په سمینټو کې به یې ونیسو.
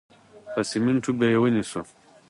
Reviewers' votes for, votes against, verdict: 2, 0, accepted